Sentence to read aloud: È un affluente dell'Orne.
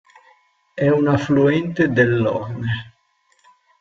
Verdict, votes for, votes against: accepted, 2, 0